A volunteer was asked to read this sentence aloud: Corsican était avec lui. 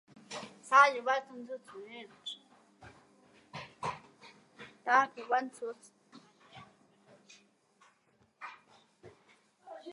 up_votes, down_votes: 0, 2